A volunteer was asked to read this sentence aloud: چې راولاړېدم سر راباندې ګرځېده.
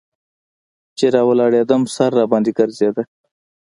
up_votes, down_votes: 1, 2